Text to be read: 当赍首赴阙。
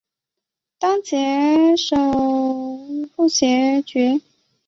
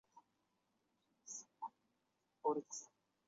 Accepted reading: first